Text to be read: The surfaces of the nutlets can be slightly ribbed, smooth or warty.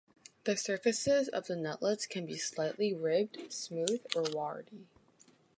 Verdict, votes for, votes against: accepted, 2, 0